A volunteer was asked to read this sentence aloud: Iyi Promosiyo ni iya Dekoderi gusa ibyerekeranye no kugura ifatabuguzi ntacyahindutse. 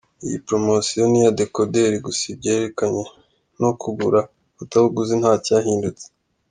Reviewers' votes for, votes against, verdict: 2, 1, accepted